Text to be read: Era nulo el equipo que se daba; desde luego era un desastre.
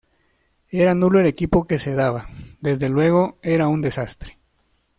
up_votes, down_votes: 2, 0